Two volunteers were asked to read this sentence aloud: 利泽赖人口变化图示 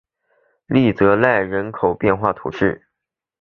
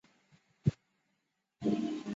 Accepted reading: first